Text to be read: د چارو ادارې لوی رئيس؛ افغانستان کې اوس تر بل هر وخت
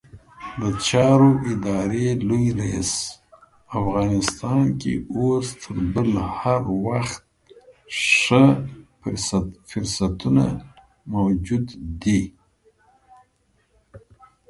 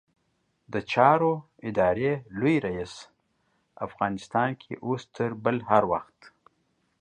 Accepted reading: second